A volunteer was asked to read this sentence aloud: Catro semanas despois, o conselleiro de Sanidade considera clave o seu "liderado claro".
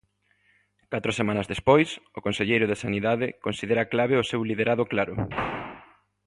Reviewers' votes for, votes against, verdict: 2, 0, accepted